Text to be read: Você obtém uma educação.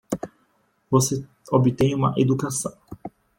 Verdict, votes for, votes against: rejected, 1, 2